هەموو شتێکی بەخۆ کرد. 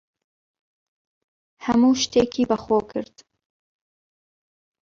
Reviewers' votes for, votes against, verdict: 1, 2, rejected